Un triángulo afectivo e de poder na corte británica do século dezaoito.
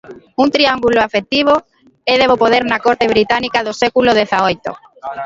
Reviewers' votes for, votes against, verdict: 1, 2, rejected